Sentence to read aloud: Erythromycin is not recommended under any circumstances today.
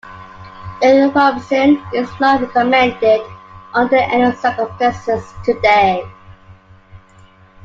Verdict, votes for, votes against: accepted, 2, 1